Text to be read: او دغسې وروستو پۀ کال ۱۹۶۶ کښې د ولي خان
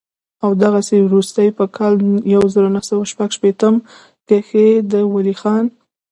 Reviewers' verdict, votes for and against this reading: rejected, 0, 2